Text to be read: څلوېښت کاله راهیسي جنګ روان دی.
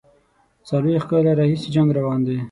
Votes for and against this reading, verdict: 6, 0, accepted